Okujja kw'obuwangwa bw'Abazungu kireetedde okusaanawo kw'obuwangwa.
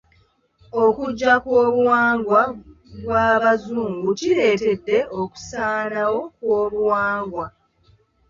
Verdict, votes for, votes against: accepted, 2, 0